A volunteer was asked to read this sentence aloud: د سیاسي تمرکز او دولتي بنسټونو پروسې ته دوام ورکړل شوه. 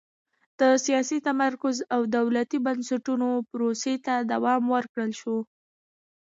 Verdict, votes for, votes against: rejected, 1, 2